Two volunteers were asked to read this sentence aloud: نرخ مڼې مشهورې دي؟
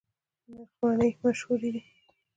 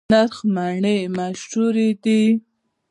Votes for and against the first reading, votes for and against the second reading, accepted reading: 2, 0, 1, 2, first